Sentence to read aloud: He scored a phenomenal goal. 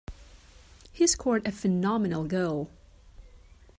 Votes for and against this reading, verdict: 2, 1, accepted